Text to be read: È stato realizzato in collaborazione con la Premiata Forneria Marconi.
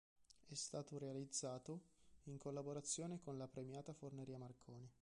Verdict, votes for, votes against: accepted, 2, 1